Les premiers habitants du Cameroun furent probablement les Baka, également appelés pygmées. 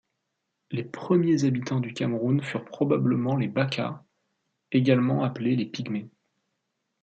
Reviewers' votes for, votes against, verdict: 0, 2, rejected